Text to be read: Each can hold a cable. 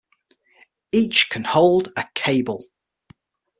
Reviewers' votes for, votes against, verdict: 6, 0, accepted